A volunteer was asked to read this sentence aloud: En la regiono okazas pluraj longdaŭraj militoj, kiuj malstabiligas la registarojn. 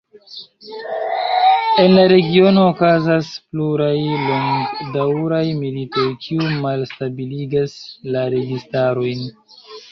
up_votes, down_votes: 1, 2